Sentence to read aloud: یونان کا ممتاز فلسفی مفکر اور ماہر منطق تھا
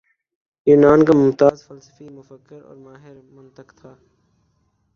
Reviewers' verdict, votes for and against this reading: rejected, 1, 3